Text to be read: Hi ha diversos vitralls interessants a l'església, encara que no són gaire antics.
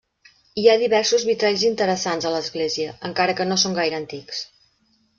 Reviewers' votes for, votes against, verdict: 3, 0, accepted